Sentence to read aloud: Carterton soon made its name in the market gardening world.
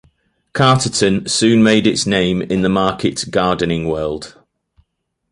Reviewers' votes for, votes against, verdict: 2, 0, accepted